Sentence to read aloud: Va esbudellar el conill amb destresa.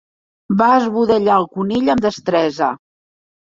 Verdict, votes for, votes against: accepted, 2, 0